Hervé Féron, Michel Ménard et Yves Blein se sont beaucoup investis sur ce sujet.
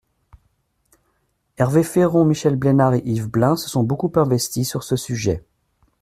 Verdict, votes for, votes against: rejected, 0, 2